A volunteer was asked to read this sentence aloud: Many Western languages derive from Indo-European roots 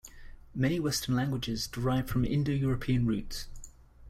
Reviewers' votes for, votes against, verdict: 2, 0, accepted